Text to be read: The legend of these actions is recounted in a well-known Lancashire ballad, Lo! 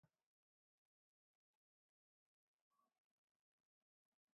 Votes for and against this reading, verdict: 0, 2, rejected